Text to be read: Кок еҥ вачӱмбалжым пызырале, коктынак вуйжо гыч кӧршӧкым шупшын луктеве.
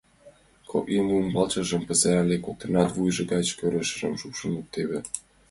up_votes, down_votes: 1, 2